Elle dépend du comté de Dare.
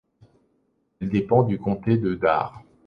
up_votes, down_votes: 2, 0